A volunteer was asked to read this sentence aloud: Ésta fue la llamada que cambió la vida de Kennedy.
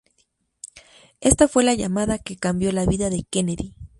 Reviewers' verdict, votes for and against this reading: accepted, 4, 0